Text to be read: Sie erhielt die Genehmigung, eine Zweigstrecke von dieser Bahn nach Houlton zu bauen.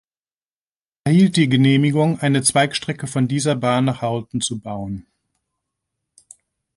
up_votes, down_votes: 1, 2